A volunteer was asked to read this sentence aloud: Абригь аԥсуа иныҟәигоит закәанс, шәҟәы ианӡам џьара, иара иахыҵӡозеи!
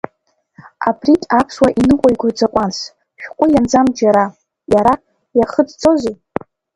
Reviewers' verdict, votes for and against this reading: rejected, 0, 2